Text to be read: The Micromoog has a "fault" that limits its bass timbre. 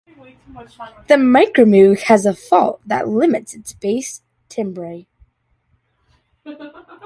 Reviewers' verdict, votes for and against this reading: accepted, 2, 0